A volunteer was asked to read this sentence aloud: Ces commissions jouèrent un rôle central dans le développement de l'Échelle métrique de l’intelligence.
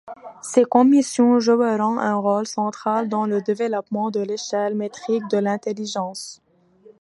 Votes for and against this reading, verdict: 1, 2, rejected